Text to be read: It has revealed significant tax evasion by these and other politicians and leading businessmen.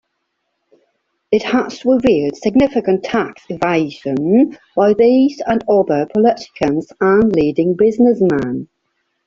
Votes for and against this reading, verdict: 0, 2, rejected